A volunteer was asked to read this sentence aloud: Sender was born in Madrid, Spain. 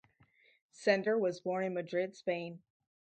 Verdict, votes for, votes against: rejected, 0, 2